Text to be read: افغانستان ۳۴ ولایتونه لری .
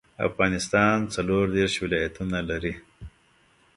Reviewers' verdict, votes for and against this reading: rejected, 0, 2